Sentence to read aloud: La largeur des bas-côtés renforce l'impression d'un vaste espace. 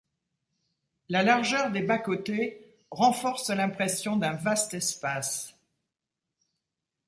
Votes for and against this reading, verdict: 2, 0, accepted